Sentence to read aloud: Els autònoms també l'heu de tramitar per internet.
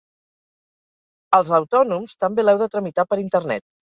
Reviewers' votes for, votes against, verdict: 4, 0, accepted